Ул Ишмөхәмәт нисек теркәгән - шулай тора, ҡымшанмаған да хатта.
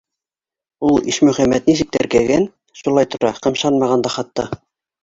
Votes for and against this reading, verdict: 4, 0, accepted